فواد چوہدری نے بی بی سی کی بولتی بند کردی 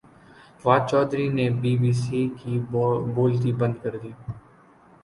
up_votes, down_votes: 6, 0